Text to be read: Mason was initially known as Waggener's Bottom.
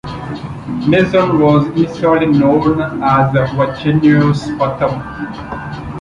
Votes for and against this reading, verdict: 0, 2, rejected